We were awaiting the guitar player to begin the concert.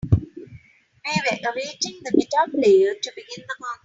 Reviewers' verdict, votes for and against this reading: rejected, 2, 3